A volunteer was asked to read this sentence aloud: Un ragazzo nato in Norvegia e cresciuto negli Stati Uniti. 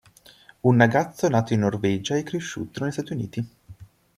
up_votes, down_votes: 1, 2